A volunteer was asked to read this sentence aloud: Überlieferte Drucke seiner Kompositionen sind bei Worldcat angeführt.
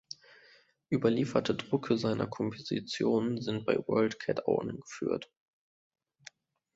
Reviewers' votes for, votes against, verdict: 0, 2, rejected